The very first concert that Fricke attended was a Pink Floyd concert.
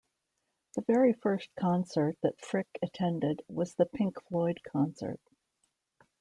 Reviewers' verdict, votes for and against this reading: rejected, 1, 2